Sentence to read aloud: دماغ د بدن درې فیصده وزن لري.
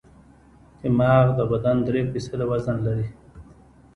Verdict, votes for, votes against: accepted, 2, 0